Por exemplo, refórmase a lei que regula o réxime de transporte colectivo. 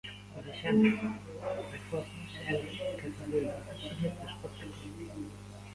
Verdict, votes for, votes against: rejected, 0, 2